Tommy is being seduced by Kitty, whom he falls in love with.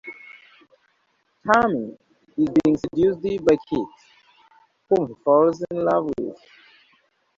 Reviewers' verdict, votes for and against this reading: rejected, 1, 2